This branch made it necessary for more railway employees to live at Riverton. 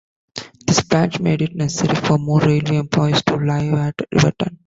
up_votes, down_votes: 0, 2